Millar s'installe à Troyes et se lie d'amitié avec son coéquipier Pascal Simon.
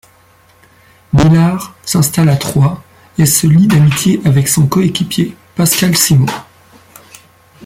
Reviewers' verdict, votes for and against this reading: accepted, 2, 0